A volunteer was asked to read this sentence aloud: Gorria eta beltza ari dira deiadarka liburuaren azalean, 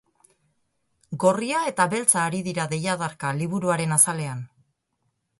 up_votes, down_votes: 10, 0